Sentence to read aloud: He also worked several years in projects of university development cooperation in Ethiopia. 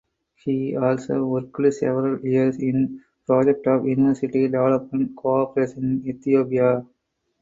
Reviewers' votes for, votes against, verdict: 0, 4, rejected